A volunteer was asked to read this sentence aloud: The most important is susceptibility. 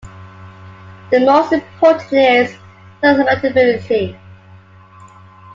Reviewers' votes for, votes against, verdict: 1, 2, rejected